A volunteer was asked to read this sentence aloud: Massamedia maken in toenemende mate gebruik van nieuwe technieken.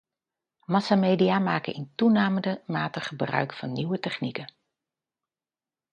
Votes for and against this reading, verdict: 0, 2, rejected